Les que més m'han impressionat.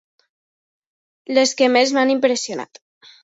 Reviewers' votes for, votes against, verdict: 2, 0, accepted